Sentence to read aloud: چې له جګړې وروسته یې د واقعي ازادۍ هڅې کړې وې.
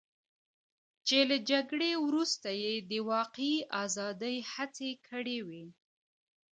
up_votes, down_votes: 1, 2